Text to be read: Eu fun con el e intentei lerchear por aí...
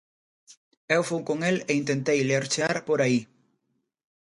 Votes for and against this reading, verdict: 2, 0, accepted